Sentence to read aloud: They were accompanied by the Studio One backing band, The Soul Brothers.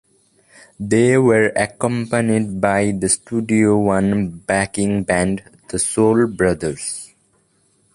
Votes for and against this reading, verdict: 1, 2, rejected